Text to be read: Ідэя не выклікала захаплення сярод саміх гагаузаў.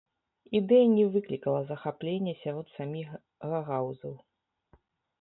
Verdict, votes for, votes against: rejected, 0, 2